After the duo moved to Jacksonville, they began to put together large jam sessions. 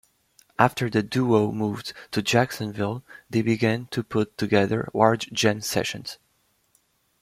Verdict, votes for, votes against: accepted, 2, 0